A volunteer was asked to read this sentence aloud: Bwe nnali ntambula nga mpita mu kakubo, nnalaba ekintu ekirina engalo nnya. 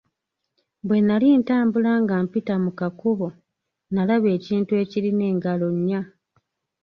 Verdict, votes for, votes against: accepted, 3, 0